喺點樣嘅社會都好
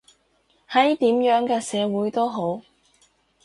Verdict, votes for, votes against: accepted, 2, 0